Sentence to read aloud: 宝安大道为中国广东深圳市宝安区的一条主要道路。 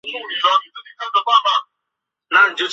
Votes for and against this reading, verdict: 0, 2, rejected